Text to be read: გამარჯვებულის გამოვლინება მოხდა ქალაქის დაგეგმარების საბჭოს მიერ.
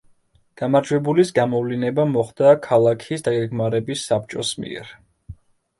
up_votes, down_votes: 1, 2